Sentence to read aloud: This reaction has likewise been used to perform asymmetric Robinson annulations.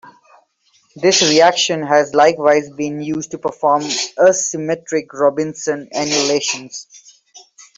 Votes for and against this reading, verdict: 2, 1, accepted